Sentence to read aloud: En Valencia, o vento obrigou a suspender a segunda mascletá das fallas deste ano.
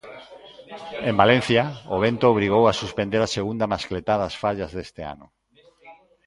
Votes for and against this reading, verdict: 2, 0, accepted